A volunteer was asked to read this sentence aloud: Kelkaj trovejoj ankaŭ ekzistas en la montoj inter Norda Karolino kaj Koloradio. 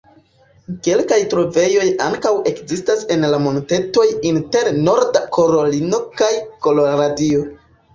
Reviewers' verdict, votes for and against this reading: rejected, 0, 2